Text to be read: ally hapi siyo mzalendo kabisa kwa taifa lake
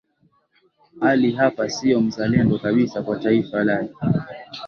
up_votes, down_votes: 1, 2